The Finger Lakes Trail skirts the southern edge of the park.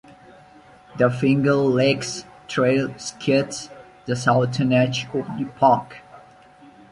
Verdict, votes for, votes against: rejected, 1, 2